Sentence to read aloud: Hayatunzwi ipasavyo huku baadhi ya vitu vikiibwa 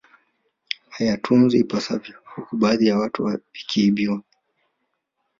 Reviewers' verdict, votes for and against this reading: accepted, 2, 1